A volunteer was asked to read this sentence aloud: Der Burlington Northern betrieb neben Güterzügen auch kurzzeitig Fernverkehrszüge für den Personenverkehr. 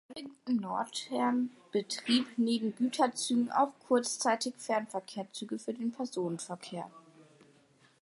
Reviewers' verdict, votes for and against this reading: rejected, 0, 2